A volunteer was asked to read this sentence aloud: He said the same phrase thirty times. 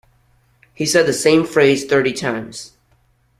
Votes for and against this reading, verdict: 2, 0, accepted